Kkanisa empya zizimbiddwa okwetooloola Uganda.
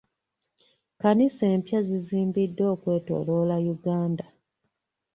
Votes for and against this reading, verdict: 2, 0, accepted